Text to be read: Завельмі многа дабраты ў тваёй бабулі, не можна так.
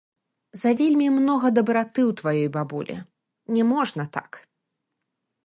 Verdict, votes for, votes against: rejected, 0, 2